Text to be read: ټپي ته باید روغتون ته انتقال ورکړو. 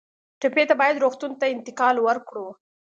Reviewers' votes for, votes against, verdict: 2, 0, accepted